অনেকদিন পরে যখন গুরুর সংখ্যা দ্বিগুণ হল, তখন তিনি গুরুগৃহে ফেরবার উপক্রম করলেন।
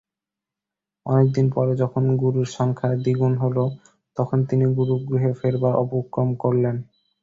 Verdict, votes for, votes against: accepted, 2, 0